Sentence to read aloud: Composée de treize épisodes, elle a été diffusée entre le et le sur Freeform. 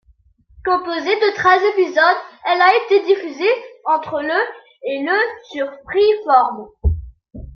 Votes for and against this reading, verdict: 2, 0, accepted